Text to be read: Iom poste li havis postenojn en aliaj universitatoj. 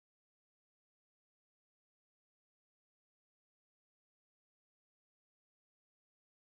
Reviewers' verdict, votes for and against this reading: accepted, 2, 0